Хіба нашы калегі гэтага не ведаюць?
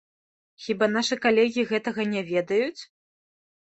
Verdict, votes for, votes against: rejected, 1, 2